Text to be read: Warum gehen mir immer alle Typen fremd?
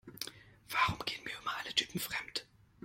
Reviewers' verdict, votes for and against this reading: accepted, 2, 0